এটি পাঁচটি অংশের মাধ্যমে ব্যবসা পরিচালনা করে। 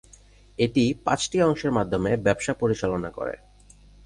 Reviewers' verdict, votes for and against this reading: rejected, 0, 2